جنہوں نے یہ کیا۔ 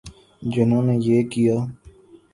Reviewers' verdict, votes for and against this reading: accepted, 2, 0